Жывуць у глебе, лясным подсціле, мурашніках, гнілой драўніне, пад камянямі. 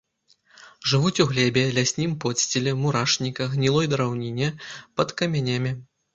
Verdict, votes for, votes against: rejected, 1, 2